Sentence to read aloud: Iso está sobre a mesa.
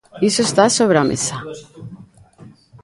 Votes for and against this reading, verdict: 1, 2, rejected